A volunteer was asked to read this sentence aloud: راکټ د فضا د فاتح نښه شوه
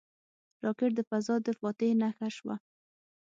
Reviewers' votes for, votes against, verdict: 6, 0, accepted